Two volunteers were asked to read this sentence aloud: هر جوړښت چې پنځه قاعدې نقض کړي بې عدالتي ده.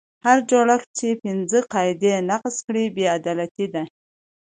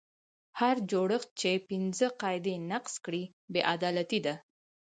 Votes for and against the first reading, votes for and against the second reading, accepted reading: 2, 0, 2, 4, first